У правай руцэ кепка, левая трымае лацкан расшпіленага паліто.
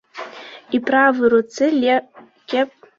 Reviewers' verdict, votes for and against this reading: rejected, 1, 2